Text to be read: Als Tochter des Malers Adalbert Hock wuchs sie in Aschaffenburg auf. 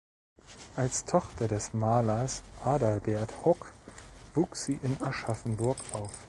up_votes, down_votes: 2, 0